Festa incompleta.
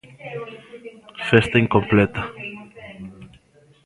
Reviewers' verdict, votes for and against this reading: rejected, 0, 2